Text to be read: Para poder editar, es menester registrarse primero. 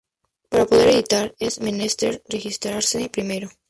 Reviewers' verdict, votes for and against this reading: rejected, 0, 2